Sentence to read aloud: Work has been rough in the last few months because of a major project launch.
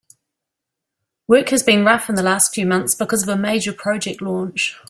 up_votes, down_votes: 2, 0